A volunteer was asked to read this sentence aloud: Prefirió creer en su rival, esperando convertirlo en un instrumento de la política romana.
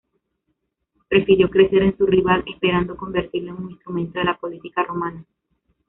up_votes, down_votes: 0, 2